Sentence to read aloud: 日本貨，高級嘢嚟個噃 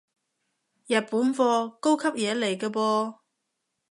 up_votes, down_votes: 2, 0